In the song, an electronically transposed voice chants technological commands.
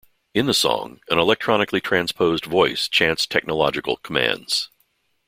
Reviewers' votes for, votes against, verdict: 0, 2, rejected